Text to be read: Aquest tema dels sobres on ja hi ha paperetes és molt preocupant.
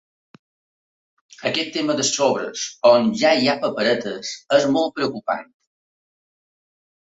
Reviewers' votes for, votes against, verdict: 2, 0, accepted